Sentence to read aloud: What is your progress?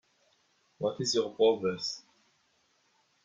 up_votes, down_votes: 2, 1